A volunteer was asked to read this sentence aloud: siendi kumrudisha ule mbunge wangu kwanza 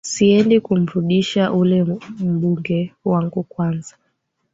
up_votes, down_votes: 0, 2